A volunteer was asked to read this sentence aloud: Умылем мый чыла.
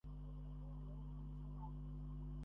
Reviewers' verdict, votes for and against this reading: rejected, 0, 2